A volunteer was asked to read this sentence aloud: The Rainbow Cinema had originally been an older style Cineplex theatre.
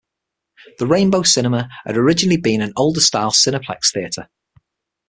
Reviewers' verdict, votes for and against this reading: accepted, 6, 0